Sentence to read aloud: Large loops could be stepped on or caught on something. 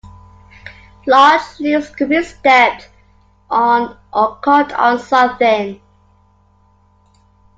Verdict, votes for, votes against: accepted, 2, 0